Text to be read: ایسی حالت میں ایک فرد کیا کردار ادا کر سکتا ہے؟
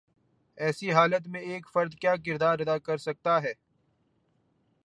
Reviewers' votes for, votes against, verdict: 2, 0, accepted